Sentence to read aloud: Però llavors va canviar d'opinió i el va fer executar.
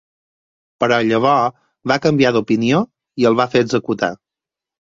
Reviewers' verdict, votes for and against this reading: rejected, 2, 4